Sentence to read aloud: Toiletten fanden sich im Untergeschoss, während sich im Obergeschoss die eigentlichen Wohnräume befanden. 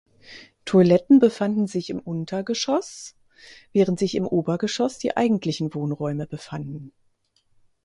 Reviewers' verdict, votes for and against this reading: rejected, 0, 4